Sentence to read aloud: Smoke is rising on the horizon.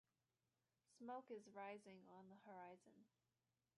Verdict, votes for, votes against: rejected, 1, 2